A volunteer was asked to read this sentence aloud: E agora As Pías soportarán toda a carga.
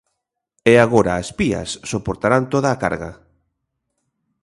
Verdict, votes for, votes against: accepted, 2, 0